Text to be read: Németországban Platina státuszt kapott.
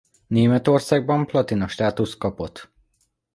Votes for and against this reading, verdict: 2, 1, accepted